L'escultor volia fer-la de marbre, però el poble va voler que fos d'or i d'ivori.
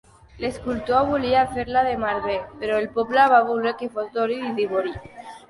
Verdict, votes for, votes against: accepted, 3, 2